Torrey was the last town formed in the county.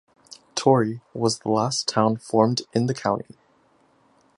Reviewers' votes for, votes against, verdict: 2, 0, accepted